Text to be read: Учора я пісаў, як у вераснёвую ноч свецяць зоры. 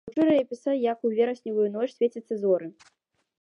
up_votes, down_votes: 1, 2